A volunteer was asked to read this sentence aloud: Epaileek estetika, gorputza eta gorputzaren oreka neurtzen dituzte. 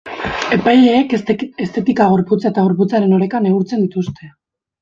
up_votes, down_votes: 0, 3